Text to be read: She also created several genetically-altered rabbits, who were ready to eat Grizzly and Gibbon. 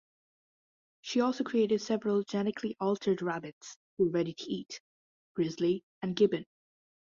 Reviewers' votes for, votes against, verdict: 0, 2, rejected